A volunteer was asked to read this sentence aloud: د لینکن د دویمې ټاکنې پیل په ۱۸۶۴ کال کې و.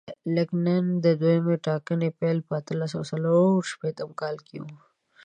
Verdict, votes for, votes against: rejected, 0, 2